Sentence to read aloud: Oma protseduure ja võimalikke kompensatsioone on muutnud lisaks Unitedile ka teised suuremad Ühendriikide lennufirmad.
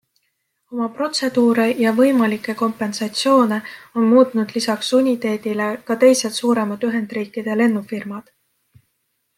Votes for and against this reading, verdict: 0, 2, rejected